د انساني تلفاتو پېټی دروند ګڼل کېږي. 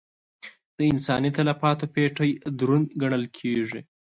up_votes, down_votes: 2, 0